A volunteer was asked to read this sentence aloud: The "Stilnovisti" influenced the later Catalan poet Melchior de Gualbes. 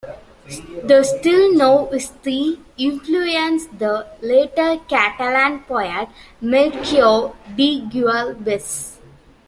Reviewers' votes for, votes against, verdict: 0, 2, rejected